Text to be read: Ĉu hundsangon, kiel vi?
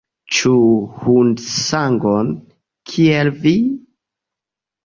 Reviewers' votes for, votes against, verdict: 2, 0, accepted